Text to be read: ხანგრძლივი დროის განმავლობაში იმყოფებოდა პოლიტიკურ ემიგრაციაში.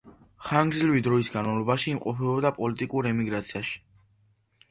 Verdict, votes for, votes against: accepted, 2, 0